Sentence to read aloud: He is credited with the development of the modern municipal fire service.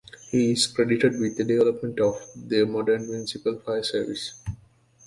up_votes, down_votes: 1, 2